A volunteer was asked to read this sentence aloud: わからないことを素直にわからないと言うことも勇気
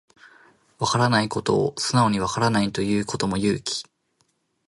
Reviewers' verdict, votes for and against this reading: accepted, 2, 0